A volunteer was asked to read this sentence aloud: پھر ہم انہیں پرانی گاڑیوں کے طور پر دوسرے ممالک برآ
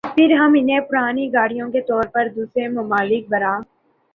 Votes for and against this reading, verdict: 2, 0, accepted